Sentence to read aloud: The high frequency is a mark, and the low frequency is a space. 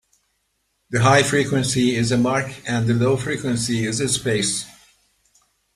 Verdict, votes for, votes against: accepted, 2, 0